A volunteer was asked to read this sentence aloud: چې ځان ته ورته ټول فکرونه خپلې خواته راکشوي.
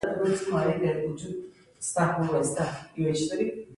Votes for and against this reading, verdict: 0, 2, rejected